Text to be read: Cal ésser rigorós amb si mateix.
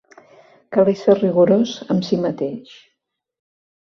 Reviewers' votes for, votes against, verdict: 2, 0, accepted